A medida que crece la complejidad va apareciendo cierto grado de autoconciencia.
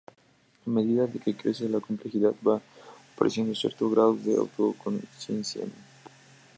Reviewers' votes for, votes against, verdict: 2, 0, accepted